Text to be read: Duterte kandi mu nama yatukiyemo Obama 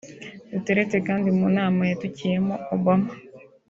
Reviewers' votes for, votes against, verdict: 2, 1, accepted